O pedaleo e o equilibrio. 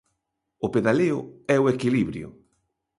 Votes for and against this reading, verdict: 2, 0, accepted